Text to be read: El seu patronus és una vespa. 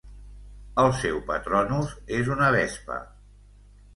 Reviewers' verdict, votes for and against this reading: accepted, 2, 0